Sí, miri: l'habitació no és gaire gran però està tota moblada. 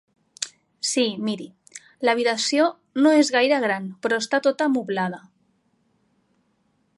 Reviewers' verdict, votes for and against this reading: accepted, 3, 0